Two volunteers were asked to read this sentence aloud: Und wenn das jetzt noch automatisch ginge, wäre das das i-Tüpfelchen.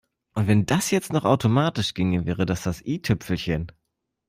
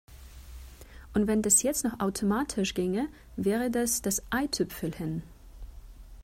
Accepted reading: first